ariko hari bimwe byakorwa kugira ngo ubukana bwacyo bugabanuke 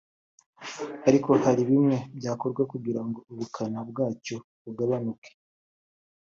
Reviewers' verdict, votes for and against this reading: accepted, 2, 1